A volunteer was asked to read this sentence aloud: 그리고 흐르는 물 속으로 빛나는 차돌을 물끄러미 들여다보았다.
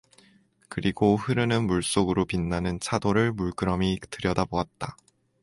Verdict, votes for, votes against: accepted, 2, 0